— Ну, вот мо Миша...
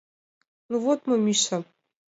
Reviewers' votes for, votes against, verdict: 2, 0, accepted